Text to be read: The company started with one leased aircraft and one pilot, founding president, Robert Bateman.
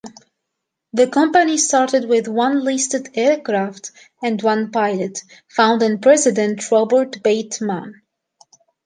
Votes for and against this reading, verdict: 1, 2, rejected